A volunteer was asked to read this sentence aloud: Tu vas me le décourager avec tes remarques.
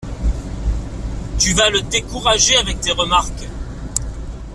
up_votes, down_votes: 0, 2